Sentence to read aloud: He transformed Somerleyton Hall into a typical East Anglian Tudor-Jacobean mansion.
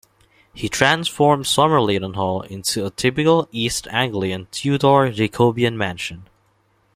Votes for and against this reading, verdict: 2, 0, accepted